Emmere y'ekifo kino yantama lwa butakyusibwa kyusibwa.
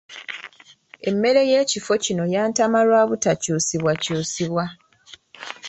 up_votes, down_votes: 2, 0